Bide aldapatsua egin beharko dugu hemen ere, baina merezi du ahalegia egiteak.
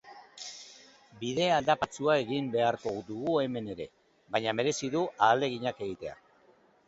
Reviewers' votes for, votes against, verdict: 0, 3, rejected